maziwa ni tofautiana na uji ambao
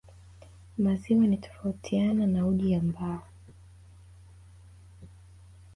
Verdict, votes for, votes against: accepted, 2, 0